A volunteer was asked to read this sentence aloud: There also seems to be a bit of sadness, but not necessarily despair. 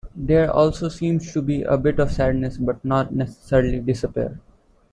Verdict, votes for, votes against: rejected, 0, 2